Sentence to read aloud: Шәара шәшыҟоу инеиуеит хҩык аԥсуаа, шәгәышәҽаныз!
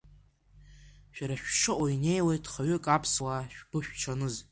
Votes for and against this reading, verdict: 1, 2, rejected